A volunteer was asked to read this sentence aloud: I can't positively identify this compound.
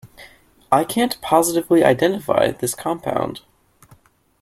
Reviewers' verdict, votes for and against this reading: accepted, 2, 0